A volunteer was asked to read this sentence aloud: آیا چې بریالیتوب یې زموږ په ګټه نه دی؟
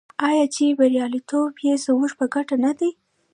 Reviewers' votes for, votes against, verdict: 1, 2, rejected